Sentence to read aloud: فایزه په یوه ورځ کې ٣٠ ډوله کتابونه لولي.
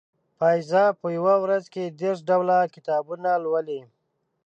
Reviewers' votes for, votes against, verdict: 0, 2, rejected